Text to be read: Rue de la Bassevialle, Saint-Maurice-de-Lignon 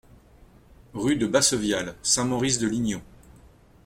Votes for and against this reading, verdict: 1, 2, rejected